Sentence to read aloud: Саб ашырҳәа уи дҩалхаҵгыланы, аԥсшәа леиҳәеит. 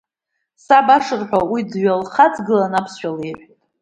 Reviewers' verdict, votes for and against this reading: rejected, 0, 2